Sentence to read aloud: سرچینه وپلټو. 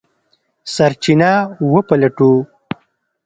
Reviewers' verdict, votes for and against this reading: rejected, 1, 2